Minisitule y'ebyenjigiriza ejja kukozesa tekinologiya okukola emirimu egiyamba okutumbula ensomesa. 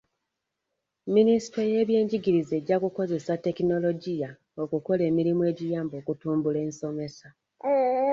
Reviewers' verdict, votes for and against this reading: accepted, 2, 0